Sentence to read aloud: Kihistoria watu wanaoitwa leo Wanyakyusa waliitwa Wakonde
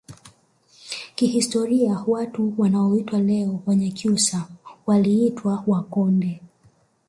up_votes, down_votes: 0, 2